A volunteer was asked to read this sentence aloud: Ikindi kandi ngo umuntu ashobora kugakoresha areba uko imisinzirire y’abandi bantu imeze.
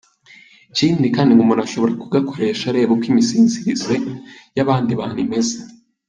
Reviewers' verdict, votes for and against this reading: accepted, 2, 1